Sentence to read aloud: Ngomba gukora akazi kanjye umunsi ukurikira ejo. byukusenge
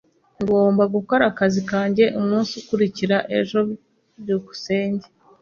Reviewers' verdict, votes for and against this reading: accepted, 2, 0